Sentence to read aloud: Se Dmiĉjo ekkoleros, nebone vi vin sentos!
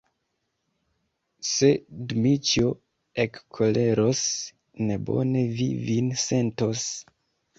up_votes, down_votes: 2, 0